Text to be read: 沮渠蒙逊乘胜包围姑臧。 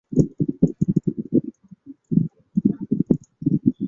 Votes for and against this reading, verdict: 0, 5, rejected